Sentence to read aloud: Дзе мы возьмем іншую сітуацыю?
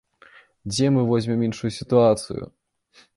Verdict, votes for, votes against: accepted, 2, 0